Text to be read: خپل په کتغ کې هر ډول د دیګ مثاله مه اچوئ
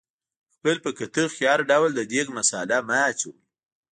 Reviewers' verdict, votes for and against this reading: rejected, 1, 2